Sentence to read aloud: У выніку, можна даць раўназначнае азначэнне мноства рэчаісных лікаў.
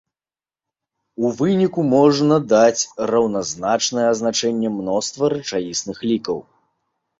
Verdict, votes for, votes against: accepted, 2, 0